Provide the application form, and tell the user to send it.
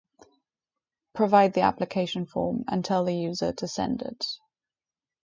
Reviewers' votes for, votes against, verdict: 4, 0, accepted